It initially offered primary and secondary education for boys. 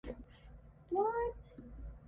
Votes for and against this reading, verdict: 0, 2, rejected